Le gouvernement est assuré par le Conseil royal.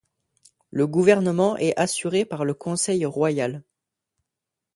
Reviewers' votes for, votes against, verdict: 1, 2, rejected